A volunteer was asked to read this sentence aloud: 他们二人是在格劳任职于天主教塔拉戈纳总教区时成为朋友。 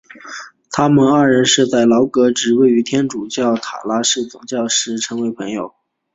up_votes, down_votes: 2, 0